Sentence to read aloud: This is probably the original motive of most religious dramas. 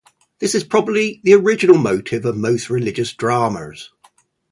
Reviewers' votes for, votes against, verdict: 2, 0, accepted